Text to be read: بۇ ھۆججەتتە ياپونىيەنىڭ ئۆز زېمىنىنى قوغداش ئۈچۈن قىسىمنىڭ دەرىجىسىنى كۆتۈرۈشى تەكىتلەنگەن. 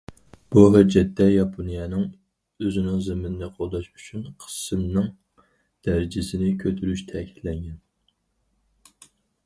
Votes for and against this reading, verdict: 0, 2, rejected